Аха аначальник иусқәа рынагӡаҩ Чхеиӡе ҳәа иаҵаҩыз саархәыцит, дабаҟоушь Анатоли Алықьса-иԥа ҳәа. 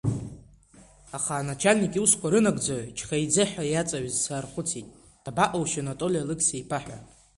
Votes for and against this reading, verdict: 2, 0, accepted